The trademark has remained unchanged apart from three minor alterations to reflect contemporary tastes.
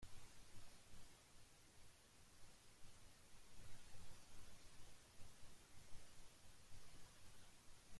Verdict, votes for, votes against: rejected, 0, 2